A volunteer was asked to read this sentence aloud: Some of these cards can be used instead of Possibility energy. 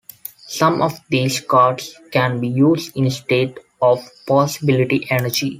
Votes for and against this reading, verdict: 2, 0, accepted